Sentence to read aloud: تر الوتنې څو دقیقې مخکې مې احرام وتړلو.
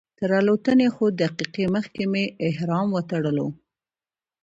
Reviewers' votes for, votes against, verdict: 2, 0, accepted